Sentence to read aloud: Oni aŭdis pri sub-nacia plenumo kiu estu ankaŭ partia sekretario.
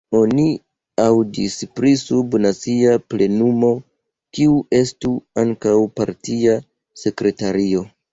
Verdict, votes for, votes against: rejected, 2, 3